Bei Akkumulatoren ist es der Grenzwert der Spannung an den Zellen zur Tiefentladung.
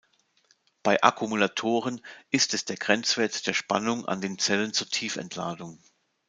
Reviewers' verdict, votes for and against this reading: accepted, 2, 0